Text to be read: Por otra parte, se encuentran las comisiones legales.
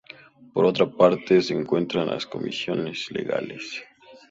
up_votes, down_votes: 2, 0